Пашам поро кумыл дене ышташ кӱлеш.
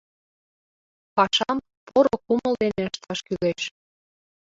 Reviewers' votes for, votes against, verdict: 0, 2, rejected